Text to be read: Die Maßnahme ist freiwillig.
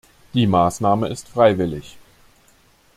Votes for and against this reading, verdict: 2, 0, accepted